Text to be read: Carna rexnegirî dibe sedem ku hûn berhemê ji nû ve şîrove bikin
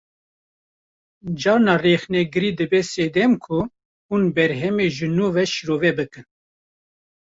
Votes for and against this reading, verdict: 1, 2, rejected